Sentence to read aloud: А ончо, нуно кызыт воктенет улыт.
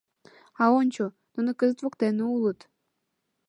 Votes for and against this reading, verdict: 2, 1, accepted